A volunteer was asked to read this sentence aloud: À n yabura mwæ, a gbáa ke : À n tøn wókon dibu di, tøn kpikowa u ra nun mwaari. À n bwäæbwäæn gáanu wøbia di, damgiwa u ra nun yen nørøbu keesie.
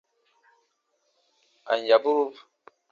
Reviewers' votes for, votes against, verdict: 0, 2, rejected